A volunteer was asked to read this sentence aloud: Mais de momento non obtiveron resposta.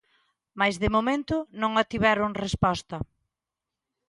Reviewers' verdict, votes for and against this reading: accepted, 2, 0